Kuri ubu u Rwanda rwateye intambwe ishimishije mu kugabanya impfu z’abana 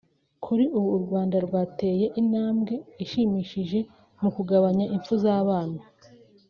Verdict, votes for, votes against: accepted, 3, 0